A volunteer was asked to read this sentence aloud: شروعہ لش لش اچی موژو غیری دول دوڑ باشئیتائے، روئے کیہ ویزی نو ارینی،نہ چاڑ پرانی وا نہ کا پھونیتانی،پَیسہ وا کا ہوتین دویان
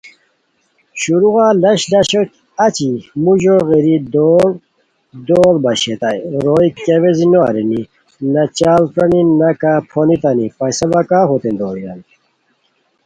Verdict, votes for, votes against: accepted, 2, 0